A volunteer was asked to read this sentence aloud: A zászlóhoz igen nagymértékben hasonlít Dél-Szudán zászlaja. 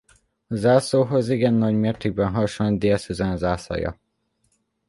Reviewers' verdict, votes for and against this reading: rejected, 0, 2